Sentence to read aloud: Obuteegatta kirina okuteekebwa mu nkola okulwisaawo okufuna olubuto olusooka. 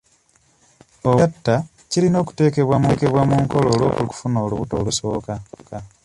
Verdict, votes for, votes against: rejected, 1, 2